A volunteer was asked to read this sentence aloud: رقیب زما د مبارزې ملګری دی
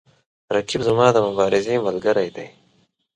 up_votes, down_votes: 2, 0